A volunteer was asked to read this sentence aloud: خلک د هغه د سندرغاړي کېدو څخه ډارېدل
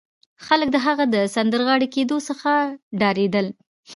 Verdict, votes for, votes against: rejected, 1, 2